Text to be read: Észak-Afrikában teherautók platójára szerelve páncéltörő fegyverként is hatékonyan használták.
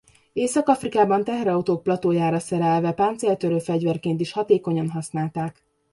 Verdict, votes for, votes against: accepted, 2, 1